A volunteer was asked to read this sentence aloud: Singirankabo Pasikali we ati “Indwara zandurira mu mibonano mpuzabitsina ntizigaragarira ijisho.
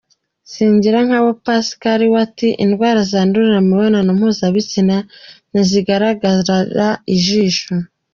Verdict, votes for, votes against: accepted, 2, 0